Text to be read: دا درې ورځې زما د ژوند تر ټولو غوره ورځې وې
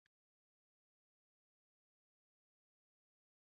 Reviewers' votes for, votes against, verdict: 1, 2, rejected